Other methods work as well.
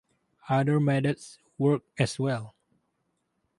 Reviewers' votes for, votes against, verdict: 0, 2, rejected